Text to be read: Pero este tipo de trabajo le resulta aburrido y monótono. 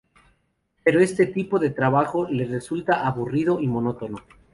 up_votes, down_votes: 4, 0